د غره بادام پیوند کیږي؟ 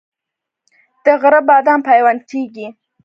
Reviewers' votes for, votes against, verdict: 1, 2, rejected